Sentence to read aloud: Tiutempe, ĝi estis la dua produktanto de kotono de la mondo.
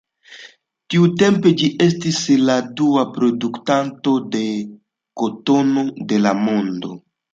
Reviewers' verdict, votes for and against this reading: accepted, 2, 0